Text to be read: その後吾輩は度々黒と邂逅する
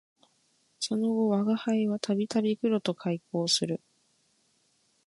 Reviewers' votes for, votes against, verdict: 2, 0, accepted